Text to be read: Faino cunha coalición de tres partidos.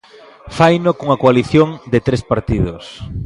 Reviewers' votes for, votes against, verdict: 2, 0, accepted